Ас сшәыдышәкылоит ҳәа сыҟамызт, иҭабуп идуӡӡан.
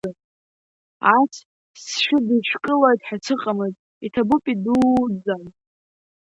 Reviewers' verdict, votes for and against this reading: rejected, 0, 2